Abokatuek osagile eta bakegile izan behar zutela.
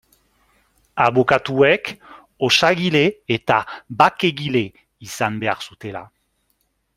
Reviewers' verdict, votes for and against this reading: accepted, 2, 0